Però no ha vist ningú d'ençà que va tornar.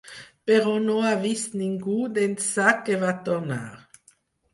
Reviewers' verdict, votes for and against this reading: accepted, 4, 0